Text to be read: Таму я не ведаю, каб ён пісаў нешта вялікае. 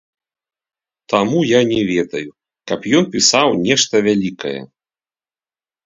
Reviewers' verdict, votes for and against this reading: rejected, 0, 2